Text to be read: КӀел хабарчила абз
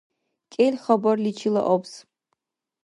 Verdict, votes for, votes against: rejected, 1, 2